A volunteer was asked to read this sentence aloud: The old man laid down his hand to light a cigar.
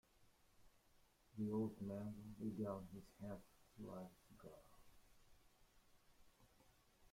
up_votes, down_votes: 0, 2